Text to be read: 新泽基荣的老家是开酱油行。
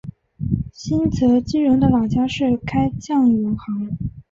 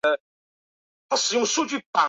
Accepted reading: first